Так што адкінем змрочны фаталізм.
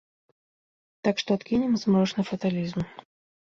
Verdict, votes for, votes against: accepted, 2, 1